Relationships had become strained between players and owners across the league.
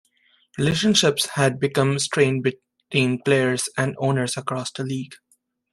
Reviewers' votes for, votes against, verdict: 1, 2, rejected